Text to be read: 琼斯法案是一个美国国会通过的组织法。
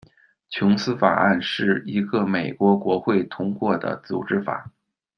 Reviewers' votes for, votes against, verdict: 2, 0, accepted